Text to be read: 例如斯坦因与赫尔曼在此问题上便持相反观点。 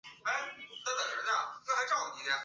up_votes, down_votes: 0, 3